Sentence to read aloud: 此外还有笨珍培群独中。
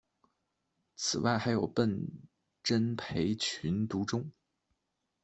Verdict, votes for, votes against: accepted, 2, 1